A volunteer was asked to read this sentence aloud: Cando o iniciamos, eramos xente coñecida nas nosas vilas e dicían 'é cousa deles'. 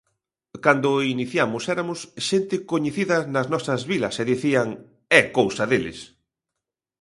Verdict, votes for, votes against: rejected, 0, 2